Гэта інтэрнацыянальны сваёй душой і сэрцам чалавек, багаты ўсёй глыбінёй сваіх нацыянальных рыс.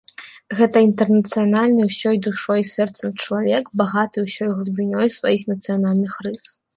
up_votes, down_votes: 1, 3